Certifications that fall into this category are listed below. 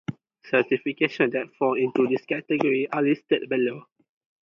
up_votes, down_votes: 2, 0